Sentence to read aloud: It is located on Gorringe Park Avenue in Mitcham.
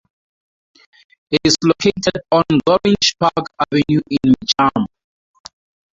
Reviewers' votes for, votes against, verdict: 4, 0, accepted